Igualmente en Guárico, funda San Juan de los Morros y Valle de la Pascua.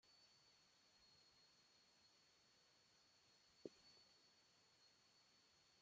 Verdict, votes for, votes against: rejected, 0, 2